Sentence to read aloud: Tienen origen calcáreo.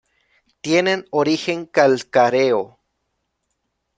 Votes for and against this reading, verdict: 1, 2, rejected